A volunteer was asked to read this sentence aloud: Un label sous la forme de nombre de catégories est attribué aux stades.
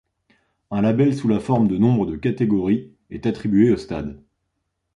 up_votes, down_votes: 2, 0